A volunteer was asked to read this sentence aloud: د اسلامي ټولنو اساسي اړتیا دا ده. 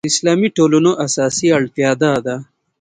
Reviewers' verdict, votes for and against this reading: accepted, 3, 0